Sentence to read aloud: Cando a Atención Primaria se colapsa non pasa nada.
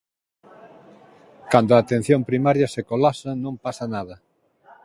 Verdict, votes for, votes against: accepted, 2, 1